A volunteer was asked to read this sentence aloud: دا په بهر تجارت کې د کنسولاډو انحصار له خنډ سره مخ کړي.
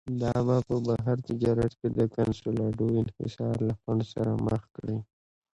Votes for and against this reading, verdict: 1, 2, rejected